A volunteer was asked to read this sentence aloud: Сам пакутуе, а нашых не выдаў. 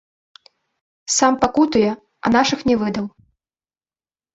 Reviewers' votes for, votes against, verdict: 2, 0, accepted